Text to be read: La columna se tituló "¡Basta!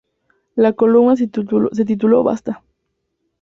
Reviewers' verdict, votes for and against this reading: rejected, 0, 2